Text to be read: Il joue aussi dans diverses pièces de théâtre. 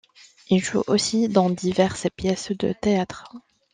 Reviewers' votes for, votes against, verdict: 2, 0, accepted